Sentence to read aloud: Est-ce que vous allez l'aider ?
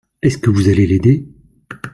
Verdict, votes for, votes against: accepted, 2, 0